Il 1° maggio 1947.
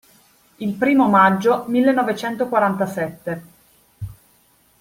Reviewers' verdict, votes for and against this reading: rejected, 0, 2